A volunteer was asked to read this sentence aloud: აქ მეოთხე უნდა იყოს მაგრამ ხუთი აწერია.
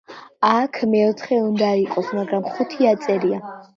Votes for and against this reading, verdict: 3, 0, accepted